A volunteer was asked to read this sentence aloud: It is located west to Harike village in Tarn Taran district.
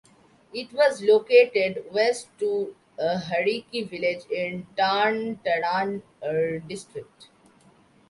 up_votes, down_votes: 0, 2